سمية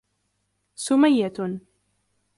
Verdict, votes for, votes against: accepted, 2, 0